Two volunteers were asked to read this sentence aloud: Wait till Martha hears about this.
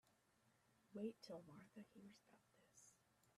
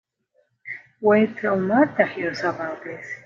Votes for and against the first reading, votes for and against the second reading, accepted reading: 1, 2, 3, 0, second